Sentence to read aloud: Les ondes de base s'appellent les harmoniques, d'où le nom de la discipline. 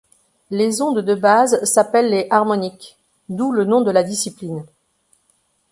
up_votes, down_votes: 2, 1